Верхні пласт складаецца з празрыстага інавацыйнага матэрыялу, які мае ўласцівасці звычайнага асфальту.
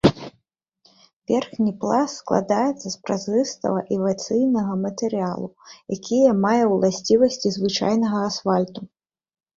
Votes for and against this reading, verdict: 0, 2, rejected